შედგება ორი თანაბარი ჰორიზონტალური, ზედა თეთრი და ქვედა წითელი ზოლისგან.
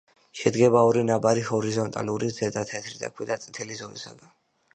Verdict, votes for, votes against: rejected, 0, 2